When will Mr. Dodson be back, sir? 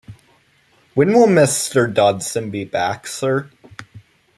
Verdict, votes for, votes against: accepted, 2, 0